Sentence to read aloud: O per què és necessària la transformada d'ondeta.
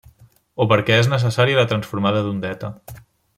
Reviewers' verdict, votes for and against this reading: rejected, 0, 2